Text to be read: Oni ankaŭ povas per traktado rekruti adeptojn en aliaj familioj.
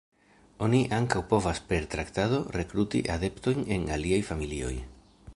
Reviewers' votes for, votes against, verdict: 0, 2, rejected